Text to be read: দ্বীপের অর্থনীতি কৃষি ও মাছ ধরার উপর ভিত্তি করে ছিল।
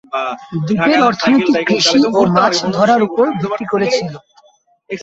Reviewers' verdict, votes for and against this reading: rejected, 2, 5